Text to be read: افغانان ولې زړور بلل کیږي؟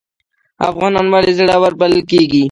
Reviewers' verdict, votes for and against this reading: accepted, 2, 1